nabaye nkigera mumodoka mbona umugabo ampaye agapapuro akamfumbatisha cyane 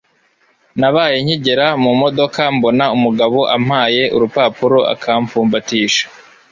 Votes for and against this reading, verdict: 0, 3, rejected